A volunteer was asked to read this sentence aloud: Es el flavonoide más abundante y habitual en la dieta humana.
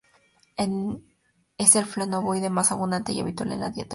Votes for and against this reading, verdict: 0, 2, rejected